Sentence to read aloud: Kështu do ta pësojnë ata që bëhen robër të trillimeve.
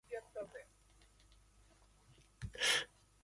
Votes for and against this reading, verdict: 0, 2, rejected